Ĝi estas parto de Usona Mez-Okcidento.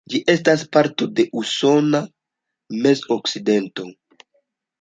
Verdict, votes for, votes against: accepted, 2, 0